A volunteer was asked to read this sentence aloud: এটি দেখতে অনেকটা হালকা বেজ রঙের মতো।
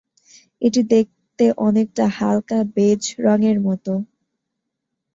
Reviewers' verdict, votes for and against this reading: accepted, 2, 0